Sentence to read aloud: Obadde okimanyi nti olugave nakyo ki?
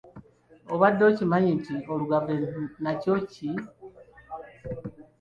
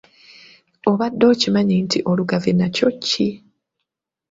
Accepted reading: second